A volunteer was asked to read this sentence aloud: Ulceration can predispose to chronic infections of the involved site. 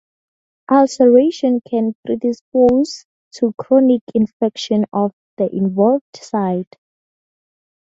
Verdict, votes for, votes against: rejected, 0, 4